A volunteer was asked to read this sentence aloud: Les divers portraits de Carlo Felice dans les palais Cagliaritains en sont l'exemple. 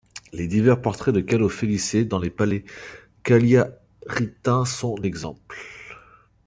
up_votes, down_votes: 0, 2